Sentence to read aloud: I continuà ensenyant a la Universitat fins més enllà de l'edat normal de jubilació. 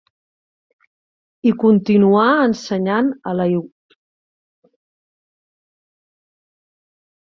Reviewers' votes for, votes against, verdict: 0, 2, rejected